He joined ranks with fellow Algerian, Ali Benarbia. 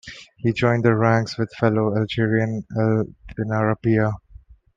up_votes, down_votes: 2, 0